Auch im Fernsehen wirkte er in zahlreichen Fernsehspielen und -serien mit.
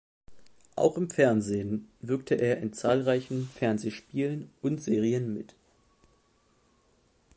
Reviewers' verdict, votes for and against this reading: accepted, 2, 0